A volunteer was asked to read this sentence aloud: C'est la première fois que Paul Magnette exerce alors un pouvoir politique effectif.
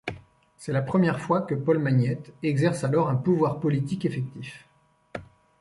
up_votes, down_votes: 2, 1